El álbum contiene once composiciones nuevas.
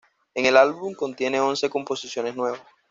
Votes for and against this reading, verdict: 1, 2, rejected